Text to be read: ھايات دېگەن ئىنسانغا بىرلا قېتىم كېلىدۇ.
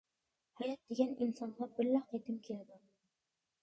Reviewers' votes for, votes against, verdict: 2, 0, accepted